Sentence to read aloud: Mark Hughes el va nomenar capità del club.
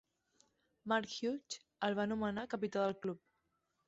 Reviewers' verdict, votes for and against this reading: accepted, 2, 0